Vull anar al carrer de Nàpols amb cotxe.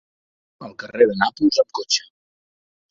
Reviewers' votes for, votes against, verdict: 0, 2, rejected